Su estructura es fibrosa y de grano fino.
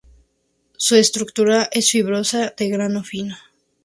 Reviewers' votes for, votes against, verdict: 0, 2, rejected